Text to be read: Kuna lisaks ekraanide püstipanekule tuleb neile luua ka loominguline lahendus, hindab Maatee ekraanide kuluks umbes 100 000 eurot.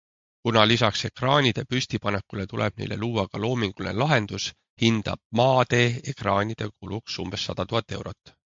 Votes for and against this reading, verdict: 0, 2, rejected